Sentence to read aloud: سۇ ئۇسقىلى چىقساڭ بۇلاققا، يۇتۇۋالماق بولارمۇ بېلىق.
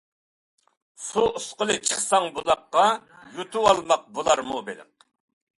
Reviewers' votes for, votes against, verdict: 2, 0, accepted